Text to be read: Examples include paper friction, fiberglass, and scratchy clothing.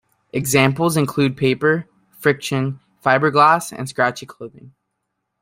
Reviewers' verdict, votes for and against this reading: accepted, 2, 0